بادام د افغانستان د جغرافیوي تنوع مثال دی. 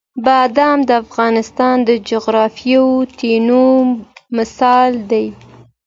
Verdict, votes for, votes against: accepted, 2, 0